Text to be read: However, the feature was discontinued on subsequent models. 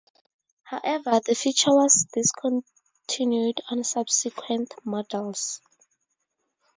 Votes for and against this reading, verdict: 2, 0, accepted